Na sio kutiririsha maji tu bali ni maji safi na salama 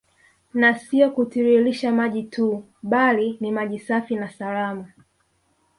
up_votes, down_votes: 2, 1